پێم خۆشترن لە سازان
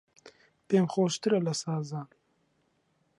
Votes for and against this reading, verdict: 0, 2, rejected